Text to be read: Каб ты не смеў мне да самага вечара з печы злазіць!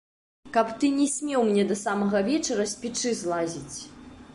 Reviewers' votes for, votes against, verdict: 2, 0, accepted